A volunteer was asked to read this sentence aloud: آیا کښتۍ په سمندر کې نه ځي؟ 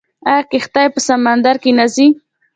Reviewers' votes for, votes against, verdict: 2, 1, accepted